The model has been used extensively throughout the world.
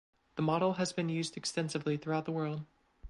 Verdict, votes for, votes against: accepted, 2, 0